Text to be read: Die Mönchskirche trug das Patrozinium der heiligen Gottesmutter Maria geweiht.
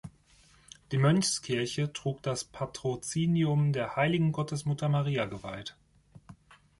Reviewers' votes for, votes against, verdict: 2, 1, accepted